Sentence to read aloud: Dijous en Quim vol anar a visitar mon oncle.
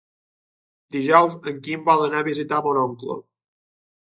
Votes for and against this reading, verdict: 4, 0, accepted